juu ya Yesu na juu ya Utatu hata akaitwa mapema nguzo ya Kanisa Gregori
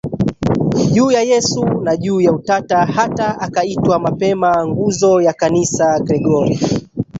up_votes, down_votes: 1, 2